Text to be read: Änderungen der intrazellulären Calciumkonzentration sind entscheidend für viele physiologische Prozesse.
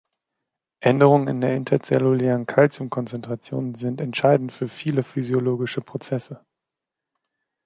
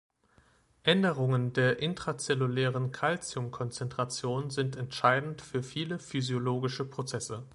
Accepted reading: second